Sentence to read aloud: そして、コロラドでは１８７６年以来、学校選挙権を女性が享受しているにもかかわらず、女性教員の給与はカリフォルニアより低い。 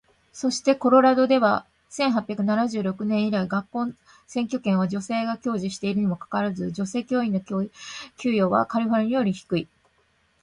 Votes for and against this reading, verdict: 0, 2, rejected